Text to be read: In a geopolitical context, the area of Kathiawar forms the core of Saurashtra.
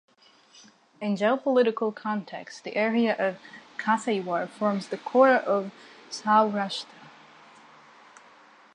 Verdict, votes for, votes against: rejected, 0, 2